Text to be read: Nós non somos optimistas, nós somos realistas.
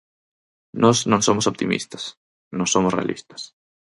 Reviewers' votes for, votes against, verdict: 4, 0, accepted